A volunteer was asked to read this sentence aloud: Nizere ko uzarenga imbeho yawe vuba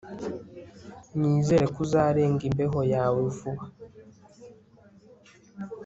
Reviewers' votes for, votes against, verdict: 2, 0, accepted